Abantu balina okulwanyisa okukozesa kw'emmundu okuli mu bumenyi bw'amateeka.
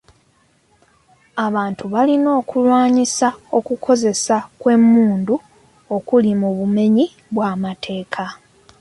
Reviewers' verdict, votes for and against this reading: accepted, 2, 0